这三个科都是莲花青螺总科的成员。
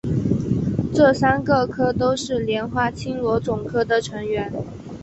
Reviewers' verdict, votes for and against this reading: accepted, 3, 0